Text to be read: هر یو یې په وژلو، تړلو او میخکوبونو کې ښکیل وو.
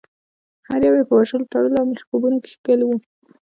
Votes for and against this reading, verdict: 1, 2, rejected